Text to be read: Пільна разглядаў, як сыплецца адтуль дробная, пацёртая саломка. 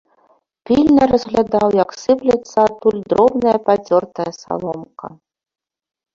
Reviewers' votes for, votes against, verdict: 1, 2, rejected